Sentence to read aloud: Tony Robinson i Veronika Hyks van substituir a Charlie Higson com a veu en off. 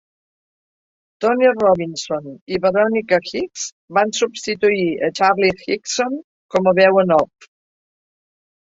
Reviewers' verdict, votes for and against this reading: accepted, 2, 1